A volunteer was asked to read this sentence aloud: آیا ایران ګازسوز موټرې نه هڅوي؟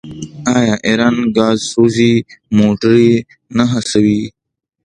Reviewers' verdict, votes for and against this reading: accepted, 2, 0